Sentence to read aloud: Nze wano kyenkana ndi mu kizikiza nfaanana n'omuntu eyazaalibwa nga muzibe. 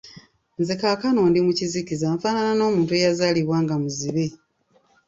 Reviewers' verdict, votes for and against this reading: rejected, 1, 2